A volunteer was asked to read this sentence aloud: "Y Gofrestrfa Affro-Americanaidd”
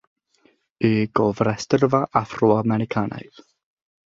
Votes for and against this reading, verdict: 0, 3, rejected